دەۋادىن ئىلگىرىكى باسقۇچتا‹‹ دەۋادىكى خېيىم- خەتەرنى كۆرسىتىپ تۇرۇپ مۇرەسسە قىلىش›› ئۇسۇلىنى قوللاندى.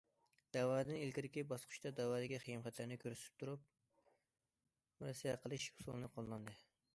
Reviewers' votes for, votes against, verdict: 0, 2, rejected